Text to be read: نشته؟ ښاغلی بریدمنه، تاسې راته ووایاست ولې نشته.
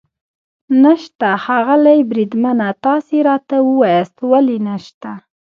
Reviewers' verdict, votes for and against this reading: rejected, 0, 2